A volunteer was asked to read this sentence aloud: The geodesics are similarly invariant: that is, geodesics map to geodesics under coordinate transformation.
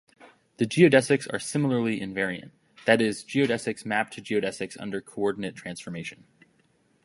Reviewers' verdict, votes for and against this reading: accepted, 2, 0